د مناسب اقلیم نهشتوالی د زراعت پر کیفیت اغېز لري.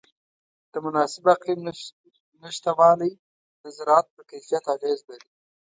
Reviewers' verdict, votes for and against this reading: rejected, 1, 2